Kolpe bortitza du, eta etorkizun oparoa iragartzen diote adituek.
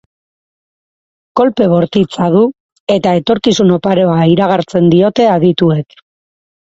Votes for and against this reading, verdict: 4, 0, accepted